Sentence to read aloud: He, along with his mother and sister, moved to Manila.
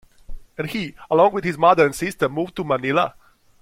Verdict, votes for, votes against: accepted, 2, 0